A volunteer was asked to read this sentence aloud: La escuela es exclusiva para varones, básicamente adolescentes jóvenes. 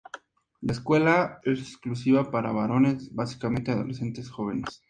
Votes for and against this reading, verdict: 2, 0, accepted